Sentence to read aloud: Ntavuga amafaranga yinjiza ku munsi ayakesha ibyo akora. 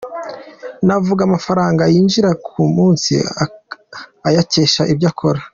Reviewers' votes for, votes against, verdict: 0, 3, rejected